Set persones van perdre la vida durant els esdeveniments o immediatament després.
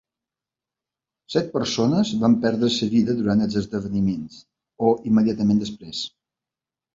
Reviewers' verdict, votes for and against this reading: rejected, 1, 2